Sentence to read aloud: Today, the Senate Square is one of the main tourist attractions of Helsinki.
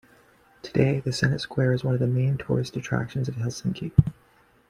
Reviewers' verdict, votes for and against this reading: accepted, 2, 0